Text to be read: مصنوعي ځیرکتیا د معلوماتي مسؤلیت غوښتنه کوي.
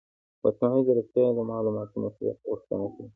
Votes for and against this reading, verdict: 1, 2, rejected